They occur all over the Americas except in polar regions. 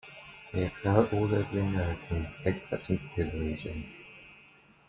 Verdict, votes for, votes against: accepted, 2, 0